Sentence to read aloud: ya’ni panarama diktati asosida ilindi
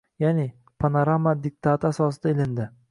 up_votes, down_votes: 2, 0